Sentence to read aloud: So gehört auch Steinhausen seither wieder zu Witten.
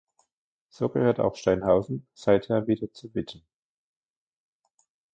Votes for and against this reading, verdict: 0, 2, rejected